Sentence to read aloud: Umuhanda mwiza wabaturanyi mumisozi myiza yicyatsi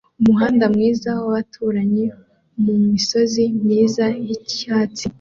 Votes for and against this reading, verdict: 2, 0, accepted